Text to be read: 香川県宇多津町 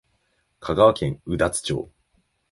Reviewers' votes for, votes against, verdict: 3, 1, accepted